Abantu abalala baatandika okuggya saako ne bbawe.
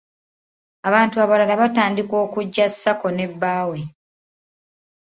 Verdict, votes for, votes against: rejected, 1, 2